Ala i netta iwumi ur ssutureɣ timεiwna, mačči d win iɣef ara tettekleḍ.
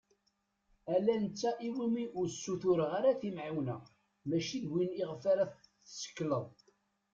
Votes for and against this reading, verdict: 0, 2, rejected